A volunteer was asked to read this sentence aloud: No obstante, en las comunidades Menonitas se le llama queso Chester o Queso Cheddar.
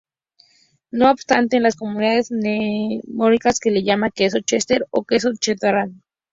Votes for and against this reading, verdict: 0, 2, rejected